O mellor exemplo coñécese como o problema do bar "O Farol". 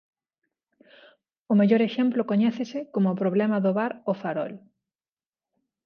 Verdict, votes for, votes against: accepted, 2, 0